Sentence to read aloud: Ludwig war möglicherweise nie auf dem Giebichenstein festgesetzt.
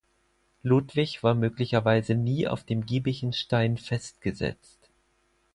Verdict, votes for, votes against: accepted, 4, 0